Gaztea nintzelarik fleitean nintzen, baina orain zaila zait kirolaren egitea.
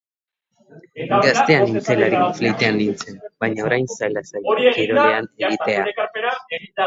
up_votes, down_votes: 0, 2